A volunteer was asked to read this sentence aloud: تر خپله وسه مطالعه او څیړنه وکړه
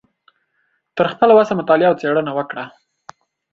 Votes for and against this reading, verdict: 2, 0, accepted